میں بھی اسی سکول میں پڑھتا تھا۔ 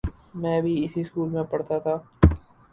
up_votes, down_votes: 0, 2